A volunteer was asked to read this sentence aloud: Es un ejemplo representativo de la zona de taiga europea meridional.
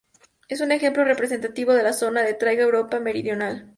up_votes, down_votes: 0, 2